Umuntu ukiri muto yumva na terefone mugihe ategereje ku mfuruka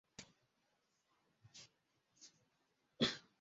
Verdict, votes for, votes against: rejected, 0, 3